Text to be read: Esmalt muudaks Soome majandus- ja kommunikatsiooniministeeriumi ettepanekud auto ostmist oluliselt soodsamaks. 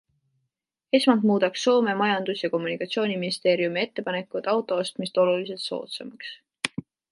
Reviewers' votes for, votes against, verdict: 2, 0, accepted